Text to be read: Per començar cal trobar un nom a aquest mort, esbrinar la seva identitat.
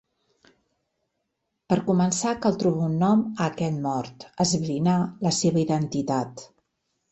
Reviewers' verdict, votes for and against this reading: accepted, 3, 0